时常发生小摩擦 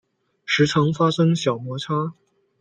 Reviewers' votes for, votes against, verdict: 2, 0, accepted